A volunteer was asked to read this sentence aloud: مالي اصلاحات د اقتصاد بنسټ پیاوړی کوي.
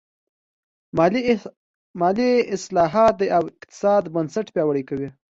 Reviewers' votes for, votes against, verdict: 2, 1, accepted